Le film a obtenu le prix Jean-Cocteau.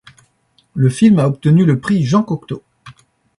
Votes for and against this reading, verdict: 2, 0, accepted